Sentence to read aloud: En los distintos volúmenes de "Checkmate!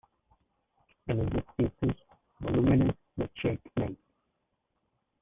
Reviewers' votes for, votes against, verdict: 0, 2, rejected